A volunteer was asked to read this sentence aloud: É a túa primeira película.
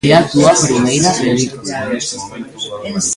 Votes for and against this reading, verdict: 0, 2, rejected